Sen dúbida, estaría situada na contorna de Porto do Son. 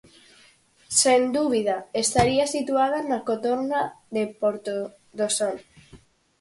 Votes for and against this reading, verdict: 0, 4, rejected